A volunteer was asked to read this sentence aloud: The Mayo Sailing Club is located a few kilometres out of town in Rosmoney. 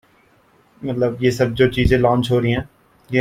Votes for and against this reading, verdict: 1, 2, rejected